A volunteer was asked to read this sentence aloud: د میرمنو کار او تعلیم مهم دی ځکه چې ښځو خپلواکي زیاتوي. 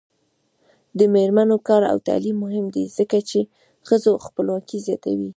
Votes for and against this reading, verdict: 0, 2, rejected